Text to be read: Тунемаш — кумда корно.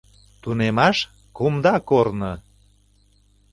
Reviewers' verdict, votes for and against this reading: accepted, 2, 0